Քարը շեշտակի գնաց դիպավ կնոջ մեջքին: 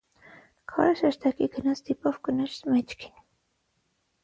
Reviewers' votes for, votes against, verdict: 3, 6, rejected